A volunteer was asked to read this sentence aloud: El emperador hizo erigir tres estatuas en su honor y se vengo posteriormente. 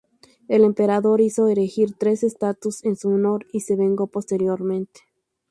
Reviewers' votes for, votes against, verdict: 2, 2, rejected